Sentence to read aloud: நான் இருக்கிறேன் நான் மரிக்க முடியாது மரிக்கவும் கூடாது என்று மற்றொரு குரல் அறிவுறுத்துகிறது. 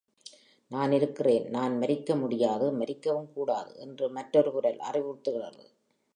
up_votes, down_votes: 2, 0